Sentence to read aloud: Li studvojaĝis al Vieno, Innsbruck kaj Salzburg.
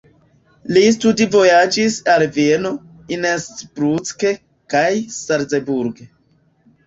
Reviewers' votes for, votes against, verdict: 0, 2, rejected